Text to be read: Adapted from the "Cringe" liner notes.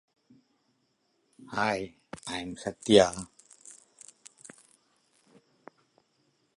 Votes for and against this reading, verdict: 0, 2, rejected